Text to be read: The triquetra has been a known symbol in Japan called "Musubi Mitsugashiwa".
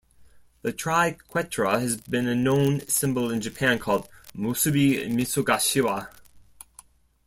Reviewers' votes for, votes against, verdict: 2, 0, accepted